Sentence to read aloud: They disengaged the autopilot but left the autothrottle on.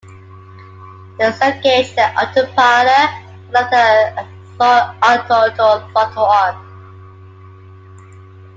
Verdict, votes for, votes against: rejected, 0, 2